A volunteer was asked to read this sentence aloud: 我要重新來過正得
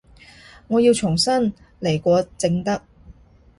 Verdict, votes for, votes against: accepted, 2, 0